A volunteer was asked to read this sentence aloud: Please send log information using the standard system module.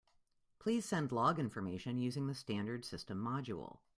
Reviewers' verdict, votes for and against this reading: accepted, 2, 0